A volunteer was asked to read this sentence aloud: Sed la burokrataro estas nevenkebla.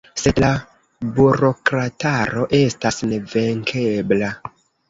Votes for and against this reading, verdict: 2, 0, accepted